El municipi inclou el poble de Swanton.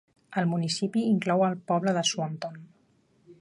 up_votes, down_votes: 2, 1